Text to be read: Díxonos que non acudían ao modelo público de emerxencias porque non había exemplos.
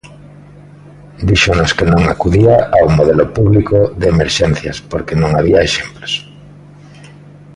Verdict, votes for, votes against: rejected, 0, 2